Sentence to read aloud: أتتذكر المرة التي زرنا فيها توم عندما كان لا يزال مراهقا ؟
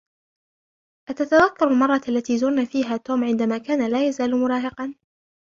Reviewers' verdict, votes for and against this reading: accepted, 2, 1